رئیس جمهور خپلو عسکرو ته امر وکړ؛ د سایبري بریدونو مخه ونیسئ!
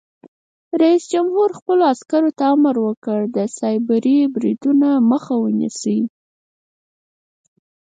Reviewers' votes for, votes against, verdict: 4, 0, accepted